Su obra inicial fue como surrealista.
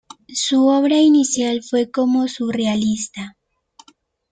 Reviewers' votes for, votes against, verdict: 2, 0, accepted